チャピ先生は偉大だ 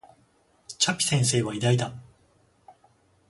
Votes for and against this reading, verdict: 0, 14, rejected